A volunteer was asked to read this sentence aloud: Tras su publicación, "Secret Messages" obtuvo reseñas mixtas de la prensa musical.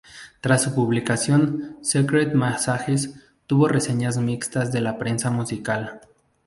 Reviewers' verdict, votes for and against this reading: rejected, 0, 2